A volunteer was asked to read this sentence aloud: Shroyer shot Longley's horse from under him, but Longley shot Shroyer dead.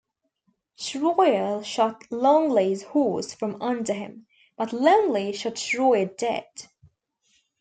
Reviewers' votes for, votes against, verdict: 2, 0, accepted